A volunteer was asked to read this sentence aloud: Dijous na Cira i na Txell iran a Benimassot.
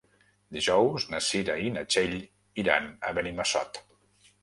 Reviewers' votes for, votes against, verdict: 3, 0, accepted